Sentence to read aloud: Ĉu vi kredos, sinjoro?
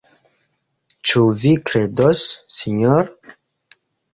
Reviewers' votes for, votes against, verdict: 2, 1, accepted